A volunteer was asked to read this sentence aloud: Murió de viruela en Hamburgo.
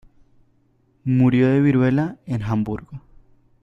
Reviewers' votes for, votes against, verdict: 1, 2, rejected